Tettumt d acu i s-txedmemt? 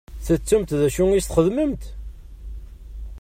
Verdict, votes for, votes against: accepted, 2, 0